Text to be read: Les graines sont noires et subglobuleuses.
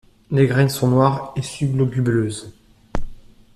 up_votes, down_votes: 1, 2